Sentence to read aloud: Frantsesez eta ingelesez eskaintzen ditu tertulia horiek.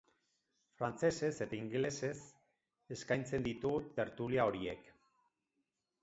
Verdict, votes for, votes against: accepted, 6, 0